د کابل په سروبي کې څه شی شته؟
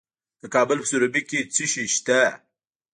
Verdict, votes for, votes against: rejected, 0, 2